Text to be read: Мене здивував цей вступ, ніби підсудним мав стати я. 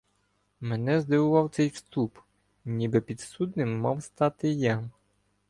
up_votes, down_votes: 1, 2